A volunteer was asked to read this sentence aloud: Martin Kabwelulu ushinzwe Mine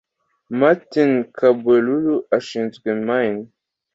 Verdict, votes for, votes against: accepted, 2, 0